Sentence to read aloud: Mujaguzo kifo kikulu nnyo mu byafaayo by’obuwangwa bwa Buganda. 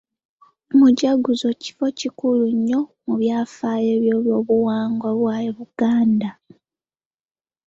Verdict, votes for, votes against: rejected, 1, 2